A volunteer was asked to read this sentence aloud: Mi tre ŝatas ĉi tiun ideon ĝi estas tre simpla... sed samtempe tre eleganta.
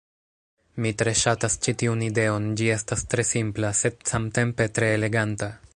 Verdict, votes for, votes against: rejected, 0, 2